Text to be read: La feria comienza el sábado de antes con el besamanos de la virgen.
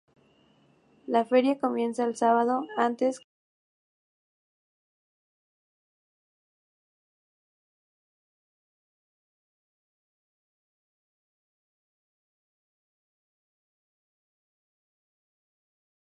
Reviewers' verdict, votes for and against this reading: rejected, 0, 4